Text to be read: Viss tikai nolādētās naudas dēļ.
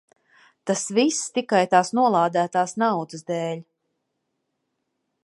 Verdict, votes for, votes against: rejected, 0, 2